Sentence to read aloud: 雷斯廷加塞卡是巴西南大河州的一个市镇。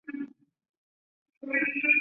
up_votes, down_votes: 0, 2